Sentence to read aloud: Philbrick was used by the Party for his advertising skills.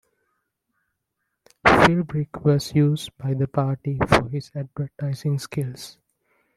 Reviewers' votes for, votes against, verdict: 2, 1, accepted